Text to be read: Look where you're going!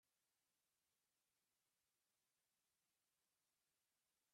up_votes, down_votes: 0, 2